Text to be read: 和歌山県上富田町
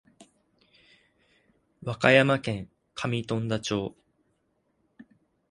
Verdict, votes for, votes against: accepted, 2, 0